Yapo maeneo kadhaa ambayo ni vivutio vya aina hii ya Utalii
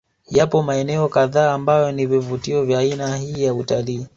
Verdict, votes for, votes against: accepted, 2, 0